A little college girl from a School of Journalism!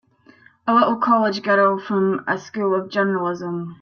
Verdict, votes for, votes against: accepted, 3, 0